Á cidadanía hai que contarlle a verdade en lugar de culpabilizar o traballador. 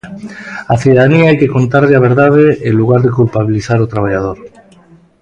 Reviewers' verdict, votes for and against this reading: rejected, 1, 2